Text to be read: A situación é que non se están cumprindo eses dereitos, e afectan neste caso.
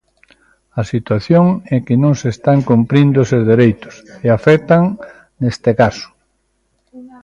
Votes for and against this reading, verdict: 2, 0, accepted